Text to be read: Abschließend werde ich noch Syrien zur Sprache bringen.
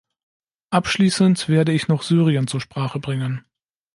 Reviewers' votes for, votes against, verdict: 2, 0, accepted